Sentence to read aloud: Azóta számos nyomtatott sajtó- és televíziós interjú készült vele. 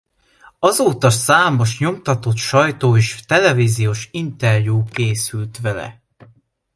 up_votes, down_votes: 2, 0